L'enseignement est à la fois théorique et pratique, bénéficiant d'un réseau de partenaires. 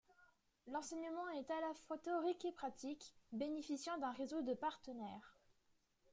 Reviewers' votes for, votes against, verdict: 2, 0, accepted